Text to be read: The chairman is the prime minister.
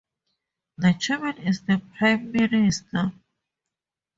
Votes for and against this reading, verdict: 2, 0, accepted